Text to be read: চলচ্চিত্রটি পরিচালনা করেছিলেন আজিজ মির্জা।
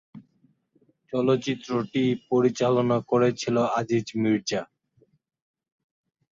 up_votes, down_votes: 0, 2